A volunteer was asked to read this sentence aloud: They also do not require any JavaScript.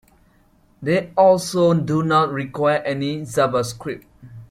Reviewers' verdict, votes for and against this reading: accepted, 2, 1